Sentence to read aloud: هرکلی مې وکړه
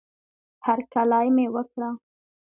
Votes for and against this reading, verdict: 2, 0, accepted